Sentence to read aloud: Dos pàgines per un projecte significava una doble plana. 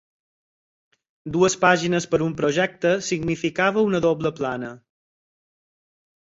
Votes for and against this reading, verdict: 2, 4, rejected